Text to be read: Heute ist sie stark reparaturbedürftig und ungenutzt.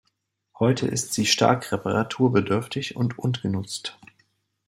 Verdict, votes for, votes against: rejected, 1, 2